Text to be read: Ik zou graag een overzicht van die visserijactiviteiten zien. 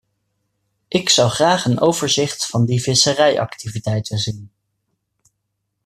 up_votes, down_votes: 2, 0